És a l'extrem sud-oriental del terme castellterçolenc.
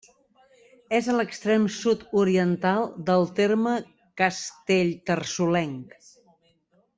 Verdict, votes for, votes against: rejected, 1, 2